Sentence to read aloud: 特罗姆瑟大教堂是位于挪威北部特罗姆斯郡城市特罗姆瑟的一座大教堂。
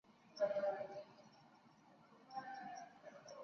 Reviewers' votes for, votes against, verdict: 2, 7, rejected